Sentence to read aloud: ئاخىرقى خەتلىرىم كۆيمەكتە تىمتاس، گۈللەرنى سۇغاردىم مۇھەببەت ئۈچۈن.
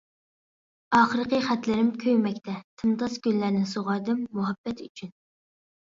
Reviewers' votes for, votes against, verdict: 2, 1, accepted